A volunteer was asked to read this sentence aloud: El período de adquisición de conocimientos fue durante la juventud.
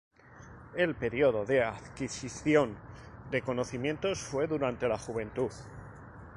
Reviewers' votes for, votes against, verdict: 4, 0, accepted